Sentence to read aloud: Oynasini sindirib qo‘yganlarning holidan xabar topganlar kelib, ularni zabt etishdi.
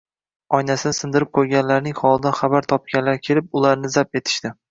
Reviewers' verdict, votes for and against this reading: rejected, 1, 2